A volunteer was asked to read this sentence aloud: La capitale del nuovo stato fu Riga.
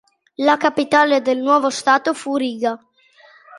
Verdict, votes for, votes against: accepted, 2, 1